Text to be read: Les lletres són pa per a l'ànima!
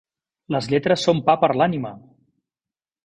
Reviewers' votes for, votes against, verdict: 3, 1, accepted